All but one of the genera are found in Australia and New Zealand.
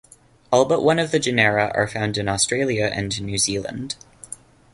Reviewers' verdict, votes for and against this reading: accepted, 2, 0